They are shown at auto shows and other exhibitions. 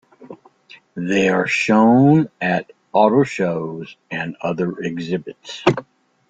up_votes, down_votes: 0, 2